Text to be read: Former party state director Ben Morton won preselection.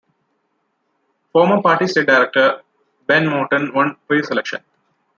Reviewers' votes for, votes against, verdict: 1, 2, rejected